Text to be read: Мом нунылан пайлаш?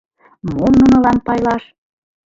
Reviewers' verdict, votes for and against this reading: accepted, 2, 0